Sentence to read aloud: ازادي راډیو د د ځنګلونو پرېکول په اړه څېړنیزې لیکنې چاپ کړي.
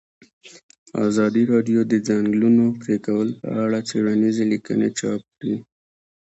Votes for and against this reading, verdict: 1, 2, rejected